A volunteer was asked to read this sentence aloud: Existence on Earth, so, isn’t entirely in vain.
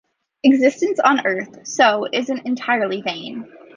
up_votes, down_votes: 0, 2